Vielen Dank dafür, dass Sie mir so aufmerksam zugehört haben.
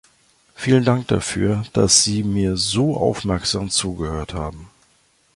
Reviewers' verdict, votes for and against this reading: accepted, 2, 0